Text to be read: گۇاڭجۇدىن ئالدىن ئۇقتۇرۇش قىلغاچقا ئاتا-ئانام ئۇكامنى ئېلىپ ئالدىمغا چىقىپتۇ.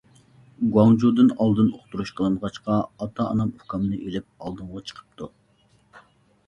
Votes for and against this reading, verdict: 1, 2, rejected